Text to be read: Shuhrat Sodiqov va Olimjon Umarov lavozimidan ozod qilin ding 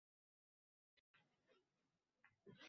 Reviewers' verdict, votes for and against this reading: rejected, 0, 2